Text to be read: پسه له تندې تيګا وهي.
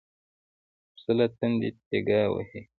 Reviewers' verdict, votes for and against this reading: rejected, 0, 2